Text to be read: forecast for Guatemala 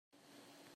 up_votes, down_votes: 0, 2